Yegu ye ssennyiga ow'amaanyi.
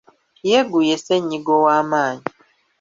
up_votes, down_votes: 2, 0